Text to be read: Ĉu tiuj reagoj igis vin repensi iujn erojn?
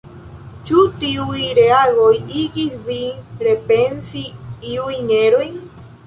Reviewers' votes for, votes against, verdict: 0, 2, rejected